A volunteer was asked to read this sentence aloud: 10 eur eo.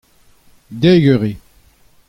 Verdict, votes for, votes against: rejected, 0, 2